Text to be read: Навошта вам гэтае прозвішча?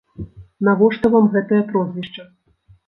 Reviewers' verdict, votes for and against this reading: accepted, 2, 0